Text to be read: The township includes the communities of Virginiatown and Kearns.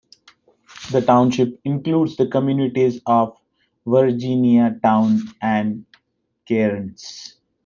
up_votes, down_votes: 0, 2